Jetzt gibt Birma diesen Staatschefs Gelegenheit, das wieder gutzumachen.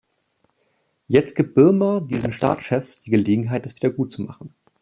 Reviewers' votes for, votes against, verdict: 1, 2, rejected